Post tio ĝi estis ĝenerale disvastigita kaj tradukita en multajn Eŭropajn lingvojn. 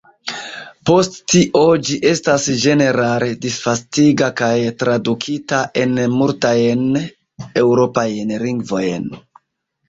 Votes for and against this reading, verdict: 0, 2, rejected